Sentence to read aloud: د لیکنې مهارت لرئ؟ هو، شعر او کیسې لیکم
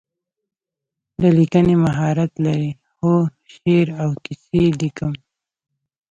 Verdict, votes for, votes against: rejected, 0, 2